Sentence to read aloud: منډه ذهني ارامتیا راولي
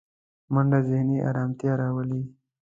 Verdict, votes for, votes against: accepted, 2, 0